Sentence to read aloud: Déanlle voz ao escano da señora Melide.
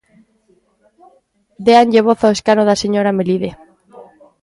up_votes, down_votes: 2, 0